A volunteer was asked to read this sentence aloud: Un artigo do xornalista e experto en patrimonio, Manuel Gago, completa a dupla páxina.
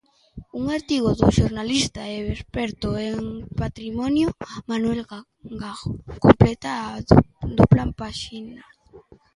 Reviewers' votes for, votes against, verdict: 0, 2, rejected